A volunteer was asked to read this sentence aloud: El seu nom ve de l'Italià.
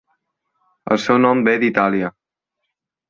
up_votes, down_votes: 1, 2